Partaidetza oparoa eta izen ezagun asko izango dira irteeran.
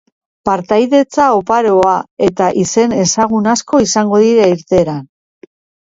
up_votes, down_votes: 2, 1